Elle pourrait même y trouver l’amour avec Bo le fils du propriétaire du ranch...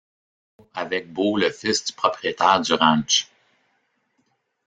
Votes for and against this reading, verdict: 0, 2, rejected